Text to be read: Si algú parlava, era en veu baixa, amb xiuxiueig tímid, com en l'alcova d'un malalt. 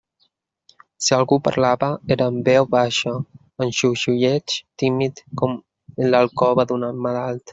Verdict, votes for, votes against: rejected, 1, 2